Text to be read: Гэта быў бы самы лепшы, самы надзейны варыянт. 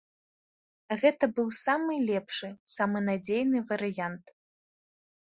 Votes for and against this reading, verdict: 2, 0, accepted